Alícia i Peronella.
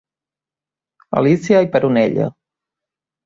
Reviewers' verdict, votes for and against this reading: accepted, 2, 0